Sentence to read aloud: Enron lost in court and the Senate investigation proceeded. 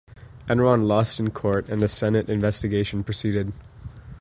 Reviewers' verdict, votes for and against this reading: accepted, 2, 0